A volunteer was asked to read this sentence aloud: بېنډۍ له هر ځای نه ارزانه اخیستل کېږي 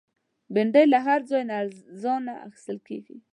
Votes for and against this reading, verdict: 2, 1, accepted